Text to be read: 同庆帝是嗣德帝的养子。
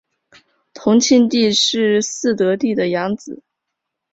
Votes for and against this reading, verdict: 3, 0, accepted